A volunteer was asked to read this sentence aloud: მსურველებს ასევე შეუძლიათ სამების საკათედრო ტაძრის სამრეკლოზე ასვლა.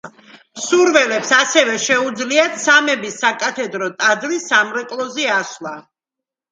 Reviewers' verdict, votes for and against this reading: accepted, 2, 0